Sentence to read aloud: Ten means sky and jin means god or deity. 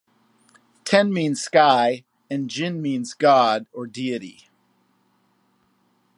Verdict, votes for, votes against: accepted, 2, 0